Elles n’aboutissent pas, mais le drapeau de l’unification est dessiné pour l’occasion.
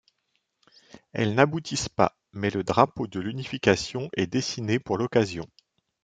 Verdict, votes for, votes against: accepted, 2, 0